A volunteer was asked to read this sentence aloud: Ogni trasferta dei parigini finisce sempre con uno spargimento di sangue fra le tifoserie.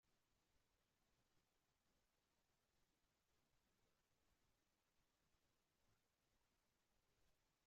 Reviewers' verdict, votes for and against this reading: rejected, 0, 2